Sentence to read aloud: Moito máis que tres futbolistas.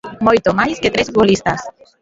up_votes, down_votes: 0, 2